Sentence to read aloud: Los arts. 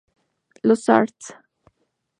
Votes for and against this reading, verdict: 2, 0, accepted